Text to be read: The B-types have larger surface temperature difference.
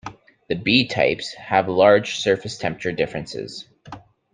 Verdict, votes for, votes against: rejected, 1, 2